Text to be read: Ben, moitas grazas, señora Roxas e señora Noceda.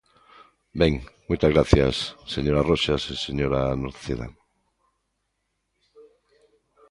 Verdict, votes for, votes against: rejected, 1, 2